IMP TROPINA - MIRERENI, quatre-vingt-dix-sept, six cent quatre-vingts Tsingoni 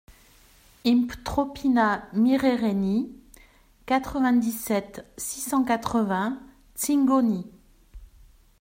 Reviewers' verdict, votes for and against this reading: rejected, 0, 2